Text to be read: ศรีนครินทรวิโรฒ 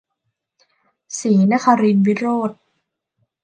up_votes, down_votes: 1, 2